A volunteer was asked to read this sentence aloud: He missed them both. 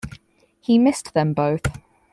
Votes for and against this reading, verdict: 4, 0, accepted